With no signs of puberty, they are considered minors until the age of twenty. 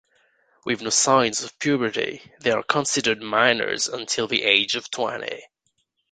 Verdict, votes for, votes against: accepted, 2, 0